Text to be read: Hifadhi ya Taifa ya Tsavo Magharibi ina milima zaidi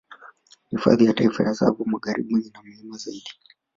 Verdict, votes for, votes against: rejected, 0, 2